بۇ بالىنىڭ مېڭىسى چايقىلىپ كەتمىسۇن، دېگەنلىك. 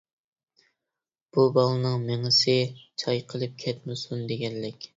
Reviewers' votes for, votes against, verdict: 2, 0, accepted